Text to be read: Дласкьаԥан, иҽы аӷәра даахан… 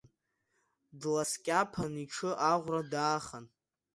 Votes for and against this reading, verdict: 2, 0, accepted